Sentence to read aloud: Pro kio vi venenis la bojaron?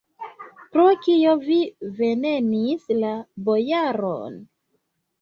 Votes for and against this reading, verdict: 2, 0, accepted